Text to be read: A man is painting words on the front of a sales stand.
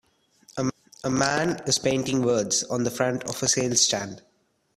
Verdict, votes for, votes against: rejected, 1, 2